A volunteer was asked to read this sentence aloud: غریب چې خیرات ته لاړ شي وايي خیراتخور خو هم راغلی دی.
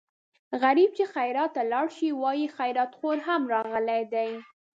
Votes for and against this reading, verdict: 1, 2, rejected